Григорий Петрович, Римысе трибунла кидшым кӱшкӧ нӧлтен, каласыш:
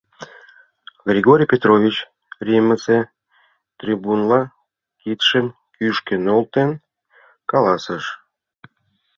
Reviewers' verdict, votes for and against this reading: accepted, 2, 0